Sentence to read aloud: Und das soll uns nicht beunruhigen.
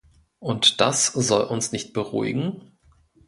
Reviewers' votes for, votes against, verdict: 0, 2, rejected